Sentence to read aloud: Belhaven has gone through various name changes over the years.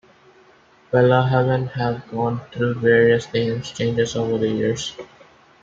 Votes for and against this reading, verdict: 1, 2, rejected